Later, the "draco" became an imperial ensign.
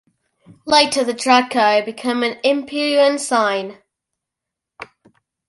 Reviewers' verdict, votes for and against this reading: accepted, 2, 0